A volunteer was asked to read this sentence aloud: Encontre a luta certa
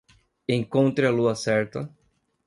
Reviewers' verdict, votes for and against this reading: rejected, 0, 2